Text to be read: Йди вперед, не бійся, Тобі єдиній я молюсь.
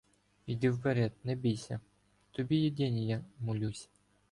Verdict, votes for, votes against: rejected, 0, 2